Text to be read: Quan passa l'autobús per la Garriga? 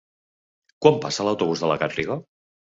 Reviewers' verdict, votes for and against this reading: rejected, 1, 2